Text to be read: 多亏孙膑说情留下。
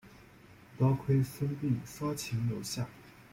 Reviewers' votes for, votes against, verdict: 2, 0, accepted